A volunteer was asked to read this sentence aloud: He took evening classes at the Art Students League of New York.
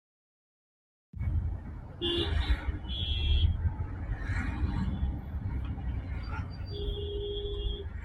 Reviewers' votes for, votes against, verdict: 0, 2, rejected